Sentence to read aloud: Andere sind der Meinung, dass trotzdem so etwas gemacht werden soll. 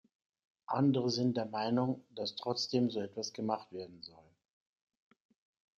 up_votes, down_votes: 2, 0